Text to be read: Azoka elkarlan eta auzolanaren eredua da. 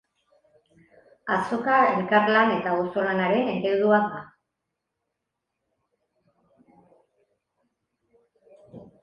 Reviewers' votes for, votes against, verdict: 3, 0, accepted